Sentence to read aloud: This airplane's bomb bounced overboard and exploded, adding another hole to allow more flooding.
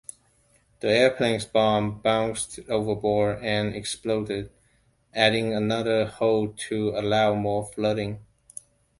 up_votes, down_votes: 1, 2